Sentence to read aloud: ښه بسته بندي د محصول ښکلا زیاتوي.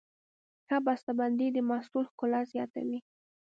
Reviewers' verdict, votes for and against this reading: accepted, 2, 0